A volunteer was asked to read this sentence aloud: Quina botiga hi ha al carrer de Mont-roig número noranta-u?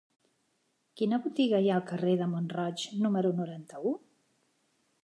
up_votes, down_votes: 3, 0